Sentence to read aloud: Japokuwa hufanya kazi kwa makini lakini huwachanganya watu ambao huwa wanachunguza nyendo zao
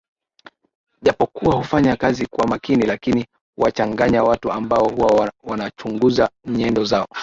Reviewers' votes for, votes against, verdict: 0, 2, rejected